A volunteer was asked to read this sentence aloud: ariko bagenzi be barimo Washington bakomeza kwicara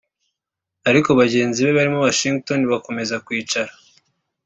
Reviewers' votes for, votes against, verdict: 3, 0, accepted